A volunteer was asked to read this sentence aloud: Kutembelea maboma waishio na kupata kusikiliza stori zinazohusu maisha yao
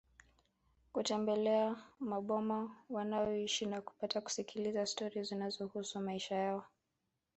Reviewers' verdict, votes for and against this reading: rejected, 1, 2